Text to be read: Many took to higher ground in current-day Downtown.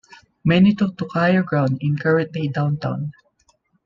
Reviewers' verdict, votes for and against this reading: accepted, 2, 0